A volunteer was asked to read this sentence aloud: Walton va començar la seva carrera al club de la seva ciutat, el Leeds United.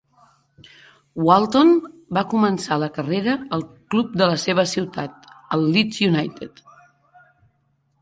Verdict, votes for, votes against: rejected, 1, 2